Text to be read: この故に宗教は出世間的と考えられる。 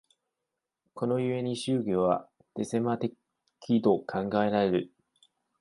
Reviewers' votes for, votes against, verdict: 0, 2, rejected